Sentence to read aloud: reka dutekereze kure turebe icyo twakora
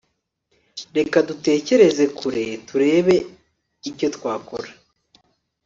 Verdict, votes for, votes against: accepted, 3, 0